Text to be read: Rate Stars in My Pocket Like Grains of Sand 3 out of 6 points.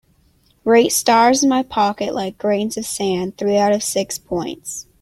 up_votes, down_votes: 0, 2